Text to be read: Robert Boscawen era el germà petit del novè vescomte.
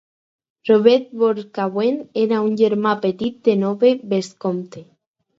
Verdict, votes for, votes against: rejected, 0, 4